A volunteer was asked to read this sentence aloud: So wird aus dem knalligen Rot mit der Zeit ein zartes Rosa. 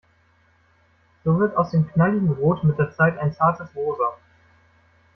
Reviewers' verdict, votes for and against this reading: accepted, 2, 0